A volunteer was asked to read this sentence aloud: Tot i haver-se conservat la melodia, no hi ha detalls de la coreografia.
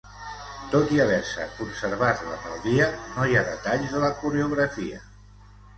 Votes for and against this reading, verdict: 0, 2, rejected